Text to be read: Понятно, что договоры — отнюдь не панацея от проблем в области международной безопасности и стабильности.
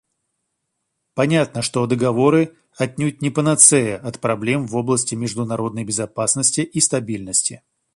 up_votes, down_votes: 2, 0